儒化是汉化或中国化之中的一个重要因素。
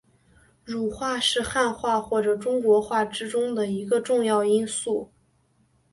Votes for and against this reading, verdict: 2, 0, accepted